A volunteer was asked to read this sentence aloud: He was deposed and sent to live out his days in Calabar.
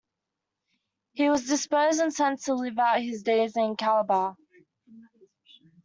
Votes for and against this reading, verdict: 0, 2, rejected